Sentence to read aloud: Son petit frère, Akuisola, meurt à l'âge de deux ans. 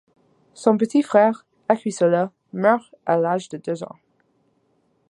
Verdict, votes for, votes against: accepted, 2, 0